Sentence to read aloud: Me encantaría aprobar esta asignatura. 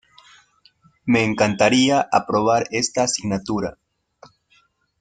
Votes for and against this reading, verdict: 3, 0, accepted